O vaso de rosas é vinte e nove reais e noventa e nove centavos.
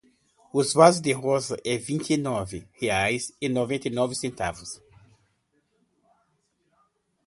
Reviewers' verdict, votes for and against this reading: accepted, 2, 0